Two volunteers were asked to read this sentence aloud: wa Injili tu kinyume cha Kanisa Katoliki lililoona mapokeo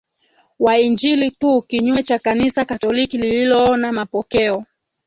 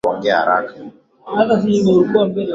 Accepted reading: first